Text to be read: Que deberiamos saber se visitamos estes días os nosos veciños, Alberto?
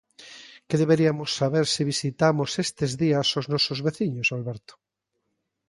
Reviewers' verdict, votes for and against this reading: rejected, 1, 2